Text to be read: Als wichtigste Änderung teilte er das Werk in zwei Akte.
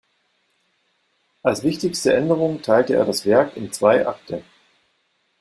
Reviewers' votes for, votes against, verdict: 2, 0, accepted